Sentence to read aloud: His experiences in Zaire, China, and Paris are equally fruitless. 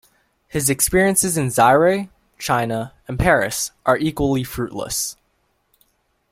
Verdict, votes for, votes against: accepted, 2, 1